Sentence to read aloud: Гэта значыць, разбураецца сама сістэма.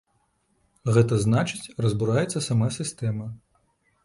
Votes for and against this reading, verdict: 1, 2, rejected